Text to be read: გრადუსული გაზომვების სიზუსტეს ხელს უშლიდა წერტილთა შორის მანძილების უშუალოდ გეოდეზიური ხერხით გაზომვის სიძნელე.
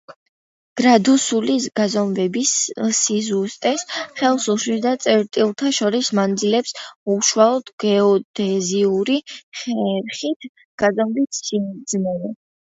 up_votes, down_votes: 1, 2